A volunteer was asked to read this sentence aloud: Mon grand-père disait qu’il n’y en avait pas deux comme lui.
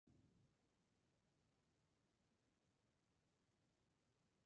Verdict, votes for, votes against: rejected, 0, 2